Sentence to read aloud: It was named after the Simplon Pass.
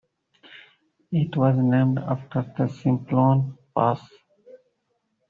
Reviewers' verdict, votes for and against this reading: accepted, 2, 0